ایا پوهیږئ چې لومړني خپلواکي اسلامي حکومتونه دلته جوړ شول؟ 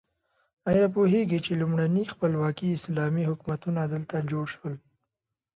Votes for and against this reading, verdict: 3, 0, accepted